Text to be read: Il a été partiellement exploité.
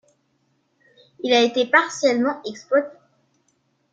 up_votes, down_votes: 2, 1